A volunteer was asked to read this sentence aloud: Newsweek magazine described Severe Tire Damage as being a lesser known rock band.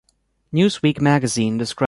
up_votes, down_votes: 0, 2